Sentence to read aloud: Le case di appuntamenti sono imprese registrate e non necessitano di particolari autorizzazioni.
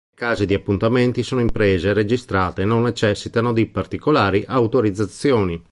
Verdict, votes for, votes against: rejected, 1, 2